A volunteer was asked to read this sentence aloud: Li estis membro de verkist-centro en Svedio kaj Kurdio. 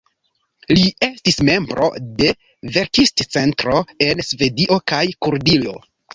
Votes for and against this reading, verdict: 1, 3, rejected